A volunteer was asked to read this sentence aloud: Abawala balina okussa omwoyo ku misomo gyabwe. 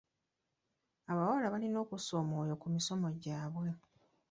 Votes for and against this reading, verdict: 1, 2, rejected